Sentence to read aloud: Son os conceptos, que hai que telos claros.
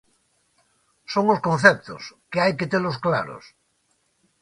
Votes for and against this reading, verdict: 2, 0, accepted